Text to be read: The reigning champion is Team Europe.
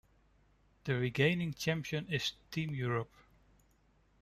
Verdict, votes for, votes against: rejected, 0, 2